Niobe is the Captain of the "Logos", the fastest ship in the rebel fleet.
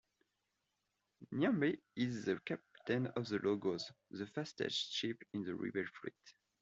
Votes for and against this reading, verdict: 2, 0, accepted